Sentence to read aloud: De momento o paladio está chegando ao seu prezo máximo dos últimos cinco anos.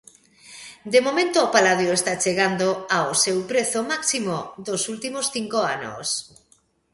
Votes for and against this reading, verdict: 2, 0, accepted